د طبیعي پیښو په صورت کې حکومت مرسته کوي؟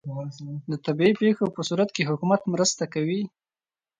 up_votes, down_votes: 2, 0